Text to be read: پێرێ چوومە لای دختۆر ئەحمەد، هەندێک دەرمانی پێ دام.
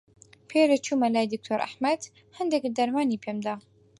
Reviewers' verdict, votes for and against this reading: rejected, 2, 4